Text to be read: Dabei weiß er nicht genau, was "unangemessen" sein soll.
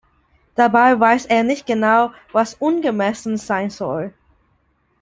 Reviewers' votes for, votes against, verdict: 0, 2, rejected